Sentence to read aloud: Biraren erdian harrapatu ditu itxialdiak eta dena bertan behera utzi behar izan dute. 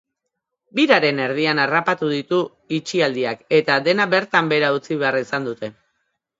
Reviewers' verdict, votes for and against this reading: accepted, 2, 0